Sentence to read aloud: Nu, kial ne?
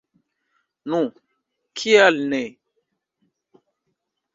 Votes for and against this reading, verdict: 3, 1, accepted